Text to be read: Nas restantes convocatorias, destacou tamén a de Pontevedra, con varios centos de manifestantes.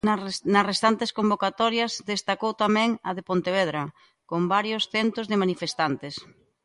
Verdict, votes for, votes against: rejected, 0, 2